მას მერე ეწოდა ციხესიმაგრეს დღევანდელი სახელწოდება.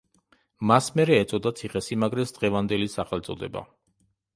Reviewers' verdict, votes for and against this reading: accepted, 2, 0